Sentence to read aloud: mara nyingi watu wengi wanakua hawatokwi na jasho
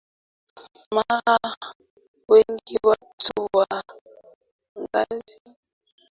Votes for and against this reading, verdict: 0, 2, rejected